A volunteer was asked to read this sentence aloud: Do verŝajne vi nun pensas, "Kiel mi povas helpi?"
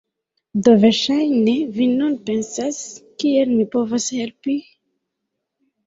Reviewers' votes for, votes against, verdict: 0, 2, rejected